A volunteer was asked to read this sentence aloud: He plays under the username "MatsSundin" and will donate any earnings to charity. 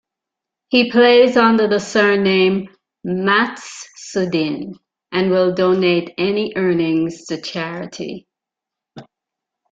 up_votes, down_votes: 0, 2